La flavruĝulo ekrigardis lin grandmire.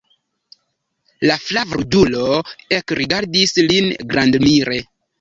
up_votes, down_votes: 1, 2